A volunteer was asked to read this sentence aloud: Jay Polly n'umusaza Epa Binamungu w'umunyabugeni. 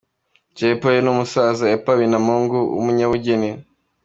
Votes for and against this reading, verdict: 2, 1, accepted